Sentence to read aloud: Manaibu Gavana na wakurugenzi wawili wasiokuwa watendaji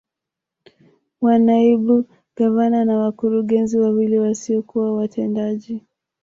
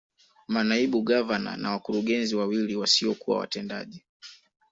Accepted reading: second